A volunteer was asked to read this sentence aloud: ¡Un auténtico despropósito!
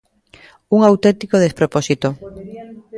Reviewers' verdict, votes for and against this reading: rejected, 0, 2